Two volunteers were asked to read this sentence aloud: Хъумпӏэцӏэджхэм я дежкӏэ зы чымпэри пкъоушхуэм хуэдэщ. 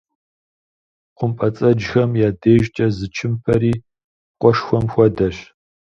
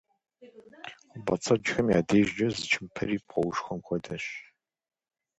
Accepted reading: second